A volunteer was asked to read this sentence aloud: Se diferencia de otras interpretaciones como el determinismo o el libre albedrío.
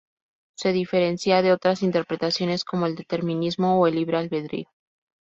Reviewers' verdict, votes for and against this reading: accepted, 4, 0